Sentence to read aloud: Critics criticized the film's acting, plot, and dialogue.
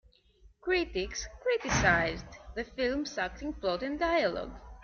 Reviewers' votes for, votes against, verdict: 2, 0, accepted